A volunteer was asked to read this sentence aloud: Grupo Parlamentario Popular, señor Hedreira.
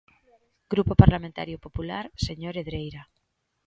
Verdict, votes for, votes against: accepted, 2, 0